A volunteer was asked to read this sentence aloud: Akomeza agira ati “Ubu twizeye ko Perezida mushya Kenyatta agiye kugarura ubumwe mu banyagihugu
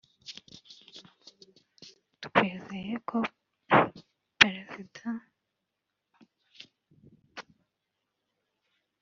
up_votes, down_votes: 0, 2